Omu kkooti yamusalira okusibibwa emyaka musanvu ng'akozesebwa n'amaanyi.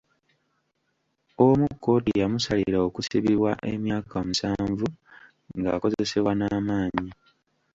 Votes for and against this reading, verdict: 2, 1, accepted